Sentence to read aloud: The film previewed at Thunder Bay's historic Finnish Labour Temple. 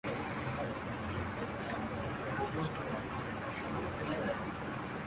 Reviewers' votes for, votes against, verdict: 1, 2, rejected